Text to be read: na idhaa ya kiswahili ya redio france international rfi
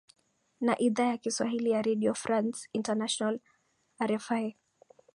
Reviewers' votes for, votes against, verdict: 3, 1, accepted